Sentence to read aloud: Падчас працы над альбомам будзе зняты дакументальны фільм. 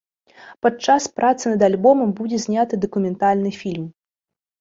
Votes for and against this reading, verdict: 2, 0, accepted